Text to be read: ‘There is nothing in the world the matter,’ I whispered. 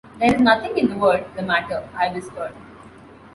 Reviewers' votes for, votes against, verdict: 2, 0, accepted